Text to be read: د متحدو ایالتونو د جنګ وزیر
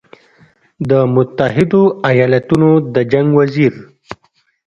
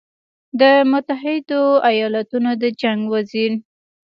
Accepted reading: first